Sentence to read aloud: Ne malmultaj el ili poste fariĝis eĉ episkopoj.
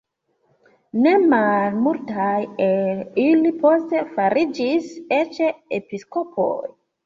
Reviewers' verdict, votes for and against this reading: accepted, 2, 1